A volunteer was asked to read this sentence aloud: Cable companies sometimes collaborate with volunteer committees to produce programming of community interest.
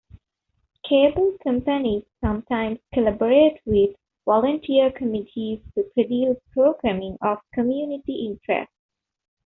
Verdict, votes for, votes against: accepted, 2, 0